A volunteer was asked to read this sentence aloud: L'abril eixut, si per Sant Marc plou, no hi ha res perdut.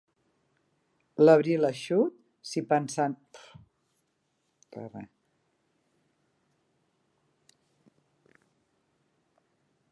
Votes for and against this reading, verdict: 1, 2, rejected